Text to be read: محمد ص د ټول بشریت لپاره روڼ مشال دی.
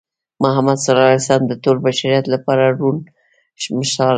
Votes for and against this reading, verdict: 1, 2, rejected